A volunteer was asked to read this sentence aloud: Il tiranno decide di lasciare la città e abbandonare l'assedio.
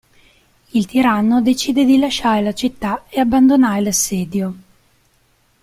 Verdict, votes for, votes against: accepted, 2, 1